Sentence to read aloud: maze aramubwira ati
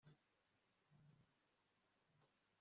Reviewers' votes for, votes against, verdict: 0, 2, rejected